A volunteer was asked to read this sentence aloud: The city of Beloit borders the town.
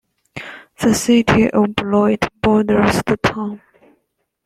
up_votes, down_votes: 2, 0